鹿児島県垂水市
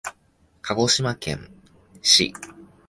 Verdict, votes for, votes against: rejected, 0, 2